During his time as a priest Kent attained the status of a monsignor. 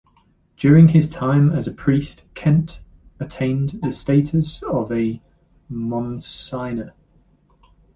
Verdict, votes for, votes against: rejected, 0, 2